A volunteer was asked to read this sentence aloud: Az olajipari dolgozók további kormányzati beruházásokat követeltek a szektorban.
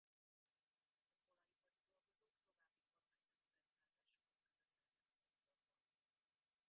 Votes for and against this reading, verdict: 0, 2, rejected